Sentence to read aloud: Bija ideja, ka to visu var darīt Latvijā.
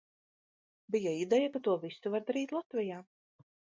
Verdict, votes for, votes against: accepted, 3, 0